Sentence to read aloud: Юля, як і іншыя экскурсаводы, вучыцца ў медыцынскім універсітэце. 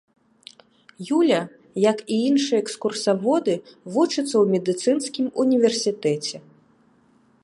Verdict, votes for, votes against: accepted, 2, 0